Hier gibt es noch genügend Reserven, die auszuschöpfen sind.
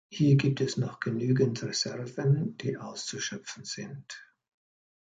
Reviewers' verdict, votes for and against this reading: accepted, 2, 0